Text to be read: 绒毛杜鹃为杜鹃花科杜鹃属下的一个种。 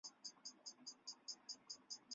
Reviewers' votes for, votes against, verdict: 0, 2, rejected